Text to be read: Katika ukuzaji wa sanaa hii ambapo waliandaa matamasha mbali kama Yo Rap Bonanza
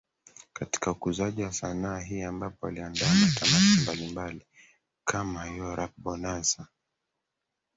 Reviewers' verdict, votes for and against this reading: rejected, 0, 2